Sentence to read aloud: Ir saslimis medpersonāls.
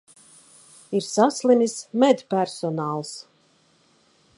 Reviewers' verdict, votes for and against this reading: accepted, 2, 0